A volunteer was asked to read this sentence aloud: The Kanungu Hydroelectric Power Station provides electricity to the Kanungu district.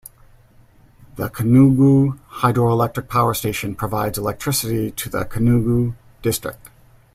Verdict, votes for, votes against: rejected, 1, 2